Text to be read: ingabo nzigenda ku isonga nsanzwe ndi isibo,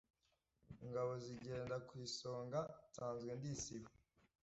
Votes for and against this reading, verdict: 1, 2, rejected